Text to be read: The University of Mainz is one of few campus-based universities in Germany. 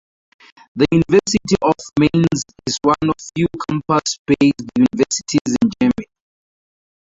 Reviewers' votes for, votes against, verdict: 2, 0, accepted